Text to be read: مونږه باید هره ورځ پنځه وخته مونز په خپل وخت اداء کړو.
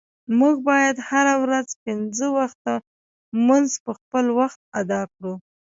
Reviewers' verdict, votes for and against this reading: accepted, 2, 0